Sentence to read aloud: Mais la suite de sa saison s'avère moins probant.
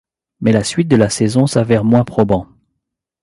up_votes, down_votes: 0, 2